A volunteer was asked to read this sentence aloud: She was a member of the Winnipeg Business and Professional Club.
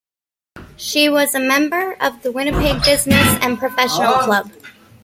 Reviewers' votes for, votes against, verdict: 2, 0, accepted